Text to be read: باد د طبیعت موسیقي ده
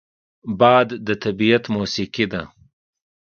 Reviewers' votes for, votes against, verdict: 2, 0, accepted